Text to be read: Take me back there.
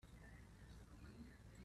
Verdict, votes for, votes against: rejected, 0, 2